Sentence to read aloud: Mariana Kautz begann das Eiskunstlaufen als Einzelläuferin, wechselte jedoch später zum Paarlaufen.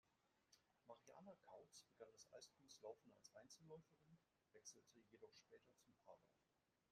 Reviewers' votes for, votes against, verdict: 0, 2, rejected